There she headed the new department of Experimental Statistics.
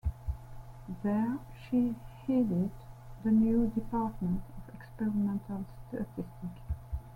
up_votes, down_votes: 1, 2